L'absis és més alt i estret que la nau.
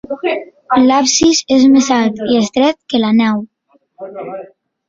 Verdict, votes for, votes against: rejected, 1, 2